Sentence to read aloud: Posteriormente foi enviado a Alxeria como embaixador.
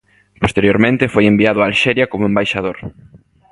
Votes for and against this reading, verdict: 2, 0, accepted